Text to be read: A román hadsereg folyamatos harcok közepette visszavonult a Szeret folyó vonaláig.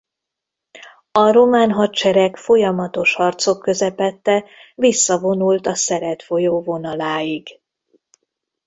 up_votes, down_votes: 1, 2